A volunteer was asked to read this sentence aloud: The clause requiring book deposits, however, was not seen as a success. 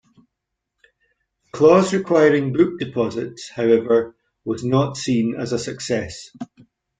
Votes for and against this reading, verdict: 1, 2, rejected